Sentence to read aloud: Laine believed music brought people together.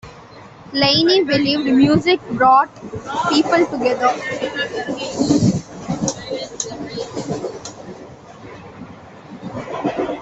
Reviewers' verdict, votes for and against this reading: rejected, 0, 2